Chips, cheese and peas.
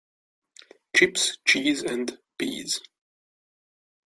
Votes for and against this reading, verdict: 2, 0, accepted